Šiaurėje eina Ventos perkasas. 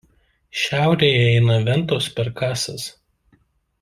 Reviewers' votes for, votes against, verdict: 1, 2, rejected